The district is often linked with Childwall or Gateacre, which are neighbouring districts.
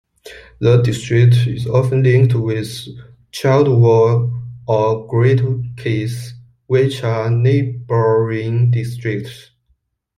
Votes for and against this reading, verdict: 2, 1, accepted